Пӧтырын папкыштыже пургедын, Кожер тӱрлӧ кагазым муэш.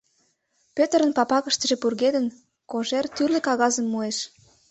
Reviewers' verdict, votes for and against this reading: rejected, 1, 2